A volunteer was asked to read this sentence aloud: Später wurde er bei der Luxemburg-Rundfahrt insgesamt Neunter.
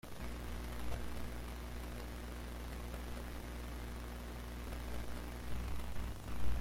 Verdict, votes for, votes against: rejected, 0, 2